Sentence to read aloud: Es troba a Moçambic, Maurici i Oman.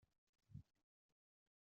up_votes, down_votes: 1, 2